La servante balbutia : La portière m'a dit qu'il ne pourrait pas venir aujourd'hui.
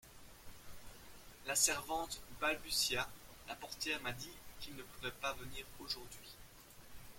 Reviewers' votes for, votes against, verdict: 2, 1, accepted